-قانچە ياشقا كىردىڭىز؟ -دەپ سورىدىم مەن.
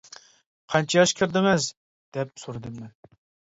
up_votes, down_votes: 2, 0